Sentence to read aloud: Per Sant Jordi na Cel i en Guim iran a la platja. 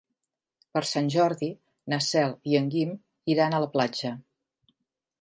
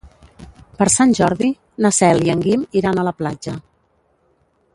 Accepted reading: first